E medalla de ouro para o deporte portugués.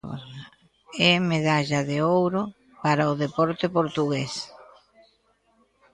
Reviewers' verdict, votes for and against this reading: rejected, 1, 2